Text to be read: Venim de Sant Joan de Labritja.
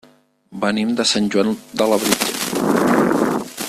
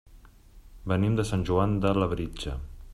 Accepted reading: second